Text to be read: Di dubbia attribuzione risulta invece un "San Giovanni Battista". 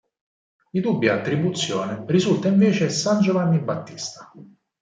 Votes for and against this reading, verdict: 0, 4, rejected